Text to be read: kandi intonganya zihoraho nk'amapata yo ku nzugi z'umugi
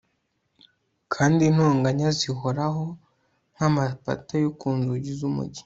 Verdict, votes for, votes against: accepted, 2, 0